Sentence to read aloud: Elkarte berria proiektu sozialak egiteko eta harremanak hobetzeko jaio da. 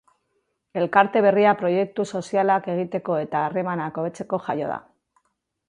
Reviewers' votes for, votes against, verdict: 2, 0, accepted